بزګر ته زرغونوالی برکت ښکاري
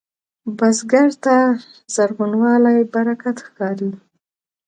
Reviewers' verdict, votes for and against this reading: accepted, 2, 0